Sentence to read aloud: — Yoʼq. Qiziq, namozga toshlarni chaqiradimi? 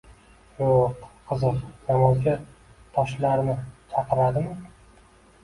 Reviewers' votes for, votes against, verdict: 2, 1, accepted